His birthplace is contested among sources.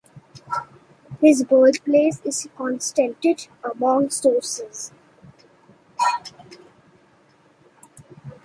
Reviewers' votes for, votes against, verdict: 0, 2, rejected